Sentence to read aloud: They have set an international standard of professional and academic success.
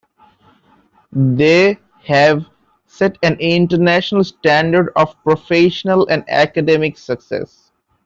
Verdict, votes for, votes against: accepted, 2, 1